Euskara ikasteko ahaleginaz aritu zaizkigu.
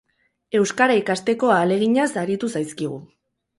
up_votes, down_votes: 4, 0